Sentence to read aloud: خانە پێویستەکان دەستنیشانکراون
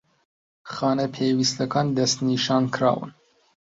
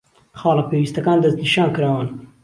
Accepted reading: first